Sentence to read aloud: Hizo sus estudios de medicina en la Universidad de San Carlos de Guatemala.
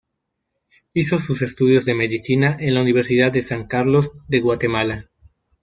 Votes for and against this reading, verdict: 1, 2, rejected